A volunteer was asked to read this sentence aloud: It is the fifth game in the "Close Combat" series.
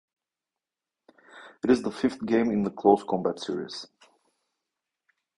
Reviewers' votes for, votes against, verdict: 2, 0, accepted